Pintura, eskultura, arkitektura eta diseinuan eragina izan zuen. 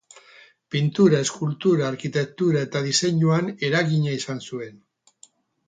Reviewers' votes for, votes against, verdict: 2, 2, rejected